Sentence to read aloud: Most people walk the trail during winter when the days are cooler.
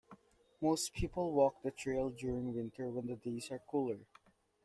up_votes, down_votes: 2, 1